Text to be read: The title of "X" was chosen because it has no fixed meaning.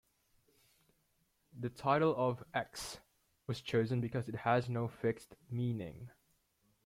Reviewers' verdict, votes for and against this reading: accepted, 2, 0